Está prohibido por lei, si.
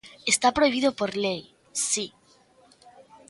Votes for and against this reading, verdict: 2, 0, accepted